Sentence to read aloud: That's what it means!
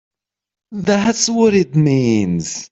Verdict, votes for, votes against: accepted, 3, 0